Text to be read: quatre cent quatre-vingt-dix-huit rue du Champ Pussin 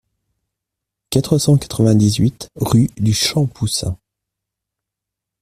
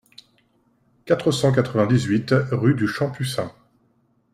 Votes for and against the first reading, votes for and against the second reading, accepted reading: 1, 2, 2, 0, second